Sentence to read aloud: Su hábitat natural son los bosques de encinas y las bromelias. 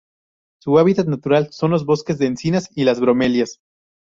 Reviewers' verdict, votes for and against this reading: accepted, 2, 0